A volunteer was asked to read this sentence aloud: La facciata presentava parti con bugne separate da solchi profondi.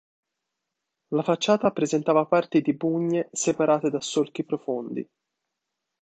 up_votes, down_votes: 0, 3